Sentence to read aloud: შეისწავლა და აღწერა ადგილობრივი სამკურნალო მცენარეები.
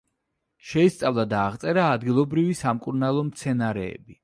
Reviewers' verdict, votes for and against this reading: accepted, 2, 0